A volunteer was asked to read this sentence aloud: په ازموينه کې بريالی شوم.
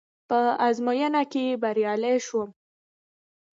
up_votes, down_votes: 2, 0